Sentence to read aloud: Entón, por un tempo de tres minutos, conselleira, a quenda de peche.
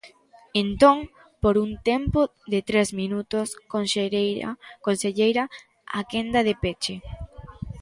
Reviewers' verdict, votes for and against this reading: rejected, 0, 2